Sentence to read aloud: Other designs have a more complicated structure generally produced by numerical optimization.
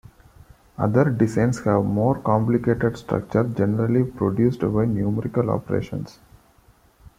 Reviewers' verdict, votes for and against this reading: rejected, 0, 2